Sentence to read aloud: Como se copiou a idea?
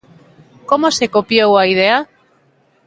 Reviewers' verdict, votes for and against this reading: accepted, 2, 0